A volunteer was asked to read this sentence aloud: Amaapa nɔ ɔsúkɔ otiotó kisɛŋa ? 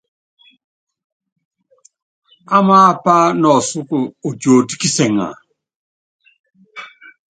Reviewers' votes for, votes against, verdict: 2, 0, accepted